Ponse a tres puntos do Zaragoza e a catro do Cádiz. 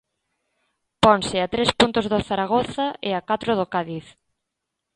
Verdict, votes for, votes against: accepted, 2, 0